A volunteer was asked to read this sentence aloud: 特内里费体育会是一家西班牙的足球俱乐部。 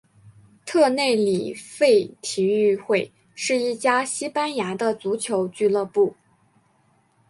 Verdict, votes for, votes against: accepted, 3, 0